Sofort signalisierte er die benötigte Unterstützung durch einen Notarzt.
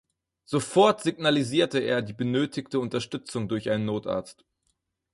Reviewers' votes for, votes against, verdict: 4, 0, accepted